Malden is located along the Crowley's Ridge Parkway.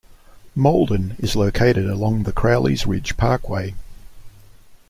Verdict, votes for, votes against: accepted, 2, 0